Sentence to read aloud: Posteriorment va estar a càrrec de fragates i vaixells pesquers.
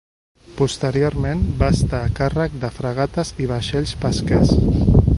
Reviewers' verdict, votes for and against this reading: accepted, 2, 0